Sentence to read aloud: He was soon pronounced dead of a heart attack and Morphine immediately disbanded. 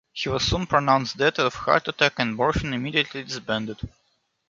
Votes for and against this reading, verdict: 0, 2, rejected